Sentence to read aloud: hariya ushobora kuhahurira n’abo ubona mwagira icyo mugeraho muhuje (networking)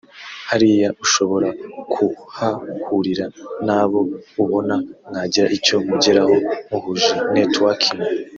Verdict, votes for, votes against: rejected, 0, 2